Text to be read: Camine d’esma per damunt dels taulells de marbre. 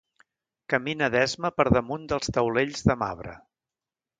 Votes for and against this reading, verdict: 1, 2, rejected